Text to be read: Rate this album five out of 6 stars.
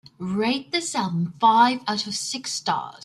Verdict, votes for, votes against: rejected, 0, 2